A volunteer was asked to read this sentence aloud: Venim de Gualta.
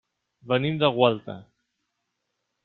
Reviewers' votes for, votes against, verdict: 3, 1, accepted